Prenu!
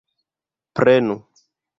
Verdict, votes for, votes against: accepted, 2, 1